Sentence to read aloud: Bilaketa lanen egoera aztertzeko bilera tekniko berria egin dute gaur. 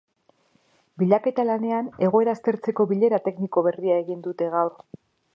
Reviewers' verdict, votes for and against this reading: rejected, 0, 2